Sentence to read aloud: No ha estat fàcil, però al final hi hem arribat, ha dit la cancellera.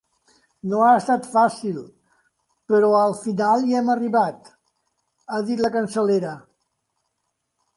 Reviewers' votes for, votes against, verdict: 1, 2, rejected